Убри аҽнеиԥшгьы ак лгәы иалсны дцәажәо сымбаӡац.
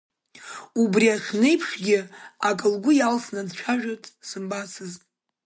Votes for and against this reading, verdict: 0, 2, rejected